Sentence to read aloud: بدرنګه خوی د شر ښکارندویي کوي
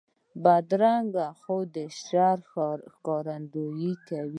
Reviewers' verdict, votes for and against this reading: rejected, 0, 2